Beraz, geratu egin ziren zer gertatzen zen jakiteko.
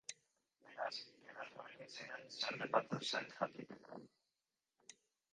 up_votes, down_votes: 0, 2